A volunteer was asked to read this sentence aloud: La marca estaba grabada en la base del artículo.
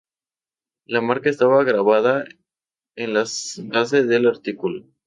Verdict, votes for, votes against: rejected, 0, 2